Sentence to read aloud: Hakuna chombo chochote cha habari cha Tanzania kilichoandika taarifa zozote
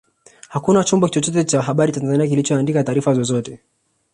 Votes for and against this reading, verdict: 1, 2, rejected